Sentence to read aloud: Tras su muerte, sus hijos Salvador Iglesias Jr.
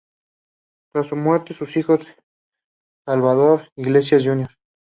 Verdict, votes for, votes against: accepted, 2, 0